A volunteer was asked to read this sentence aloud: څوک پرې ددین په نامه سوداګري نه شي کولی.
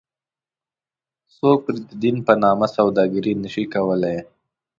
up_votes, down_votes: 2, 1